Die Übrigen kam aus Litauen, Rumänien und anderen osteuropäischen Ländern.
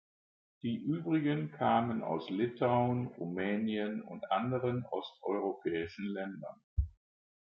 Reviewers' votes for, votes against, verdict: 1, 2, rejected